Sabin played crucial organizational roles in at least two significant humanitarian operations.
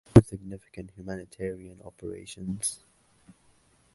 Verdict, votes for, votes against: rejected, 0, 2